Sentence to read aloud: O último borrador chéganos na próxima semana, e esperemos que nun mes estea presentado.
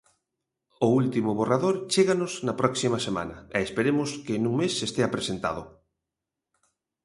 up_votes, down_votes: 2, 0